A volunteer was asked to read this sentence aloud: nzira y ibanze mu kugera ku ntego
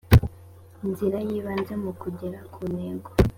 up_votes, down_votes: 3, 0